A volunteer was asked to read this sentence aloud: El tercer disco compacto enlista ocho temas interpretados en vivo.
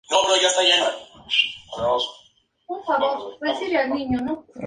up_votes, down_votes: 0, 4